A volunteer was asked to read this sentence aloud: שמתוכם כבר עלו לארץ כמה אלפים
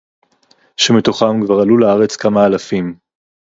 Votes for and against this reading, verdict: 4, 0, accepted